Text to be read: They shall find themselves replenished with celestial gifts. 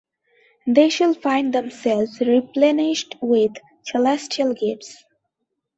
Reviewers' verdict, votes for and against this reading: accepted, 2, 0